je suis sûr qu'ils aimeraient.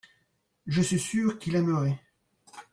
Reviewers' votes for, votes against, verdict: 1, 2, rejected